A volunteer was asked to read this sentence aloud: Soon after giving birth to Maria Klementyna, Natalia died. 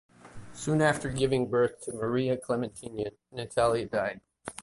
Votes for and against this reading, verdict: 2, 0, accepted